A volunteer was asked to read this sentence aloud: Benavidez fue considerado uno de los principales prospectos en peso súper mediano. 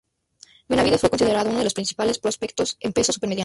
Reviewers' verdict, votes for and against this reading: rejected, 0, 2